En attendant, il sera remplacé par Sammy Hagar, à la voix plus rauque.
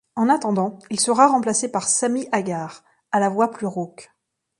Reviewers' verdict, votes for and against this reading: accepted, 2, 0